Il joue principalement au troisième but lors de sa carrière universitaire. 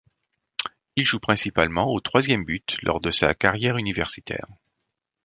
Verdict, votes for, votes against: accepted, 2, 0